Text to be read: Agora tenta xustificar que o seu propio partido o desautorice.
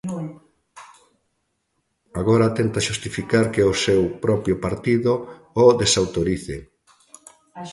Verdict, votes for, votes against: rejected, 0, 2